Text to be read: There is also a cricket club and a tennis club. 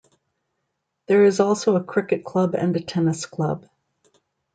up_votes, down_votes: 2, 0